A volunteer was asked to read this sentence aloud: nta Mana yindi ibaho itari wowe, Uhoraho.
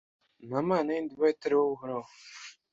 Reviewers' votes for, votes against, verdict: 2, 0, accepted